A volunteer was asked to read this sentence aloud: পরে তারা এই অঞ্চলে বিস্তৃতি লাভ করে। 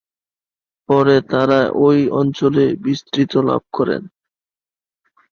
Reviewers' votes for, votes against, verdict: 0, 4, rejected